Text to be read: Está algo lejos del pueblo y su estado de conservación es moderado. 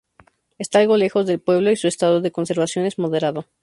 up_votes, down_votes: 2, 0